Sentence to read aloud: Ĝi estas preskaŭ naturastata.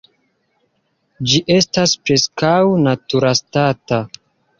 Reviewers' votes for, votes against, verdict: 1, 2, rejected